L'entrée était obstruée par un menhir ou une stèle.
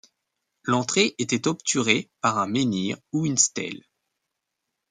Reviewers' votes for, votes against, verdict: 1, 2, rejected